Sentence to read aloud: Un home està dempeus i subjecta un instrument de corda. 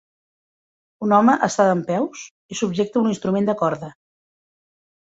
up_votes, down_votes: 4, 0